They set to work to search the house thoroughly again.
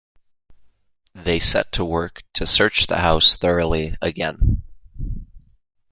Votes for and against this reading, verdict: 2, 0, accepted